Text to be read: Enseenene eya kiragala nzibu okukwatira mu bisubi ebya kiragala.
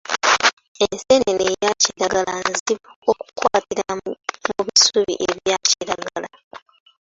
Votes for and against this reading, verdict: 0, 2, rejected